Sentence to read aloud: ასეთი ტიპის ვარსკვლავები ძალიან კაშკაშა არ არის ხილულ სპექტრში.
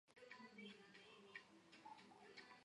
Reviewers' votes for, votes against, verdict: 0, 2, rejected